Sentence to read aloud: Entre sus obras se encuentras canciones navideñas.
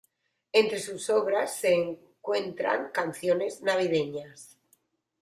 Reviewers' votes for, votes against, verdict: 1, 2, rejected